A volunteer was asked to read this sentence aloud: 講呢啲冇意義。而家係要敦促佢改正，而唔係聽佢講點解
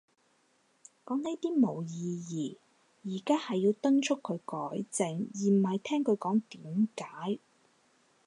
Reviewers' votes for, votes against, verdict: 4, 0, accepted